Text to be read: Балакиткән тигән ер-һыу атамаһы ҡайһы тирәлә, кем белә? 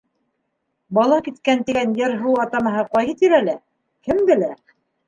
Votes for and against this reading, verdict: 2, 0, accepted